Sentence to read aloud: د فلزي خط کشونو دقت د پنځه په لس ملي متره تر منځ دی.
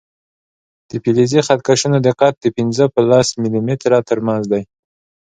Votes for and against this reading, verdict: 2, 0, accepted